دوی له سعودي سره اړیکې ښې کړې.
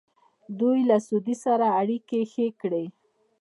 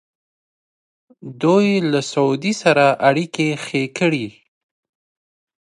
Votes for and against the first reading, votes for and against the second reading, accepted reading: 2, 3, 2, 0, second